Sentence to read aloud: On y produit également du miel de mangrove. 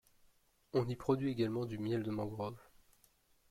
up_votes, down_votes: 2, 0